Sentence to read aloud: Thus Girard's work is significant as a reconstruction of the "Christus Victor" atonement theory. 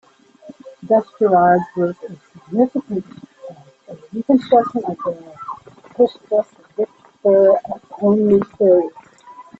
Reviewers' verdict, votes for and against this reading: rejected, 1, 2